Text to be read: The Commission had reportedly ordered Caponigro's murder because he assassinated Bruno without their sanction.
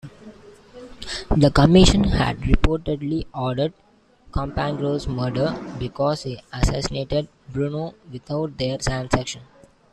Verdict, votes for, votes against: rejected, 1, 2